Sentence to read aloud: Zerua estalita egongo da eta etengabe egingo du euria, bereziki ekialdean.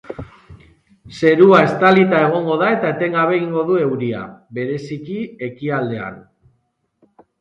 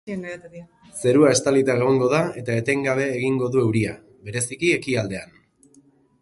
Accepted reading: first